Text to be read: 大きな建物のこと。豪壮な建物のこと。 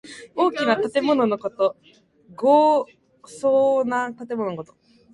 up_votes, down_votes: 1, 2